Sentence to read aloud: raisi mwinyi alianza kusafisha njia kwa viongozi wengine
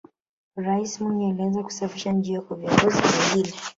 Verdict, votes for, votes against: rejected, 0, 2